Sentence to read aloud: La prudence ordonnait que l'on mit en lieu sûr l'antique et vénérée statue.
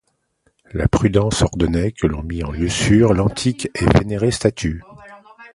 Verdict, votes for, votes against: accepted, 2, 0